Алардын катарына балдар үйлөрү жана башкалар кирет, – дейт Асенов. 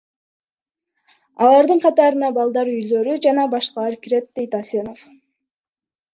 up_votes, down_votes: 2, 1